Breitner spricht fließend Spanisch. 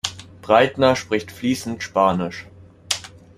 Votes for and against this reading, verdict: 2, 0, accepted